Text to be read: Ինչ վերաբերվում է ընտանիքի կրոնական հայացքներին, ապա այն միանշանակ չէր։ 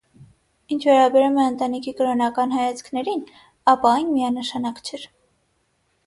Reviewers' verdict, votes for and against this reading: accepted, 6, 0